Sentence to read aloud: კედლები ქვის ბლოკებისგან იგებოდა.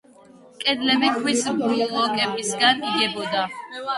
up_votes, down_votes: 0, 2